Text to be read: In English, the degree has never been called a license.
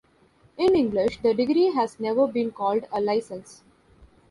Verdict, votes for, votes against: accepted, 2, 0